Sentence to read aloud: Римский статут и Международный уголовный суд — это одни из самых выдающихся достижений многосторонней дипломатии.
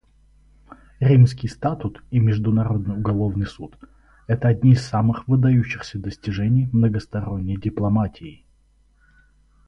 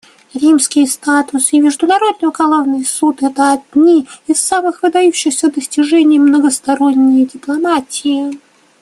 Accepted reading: first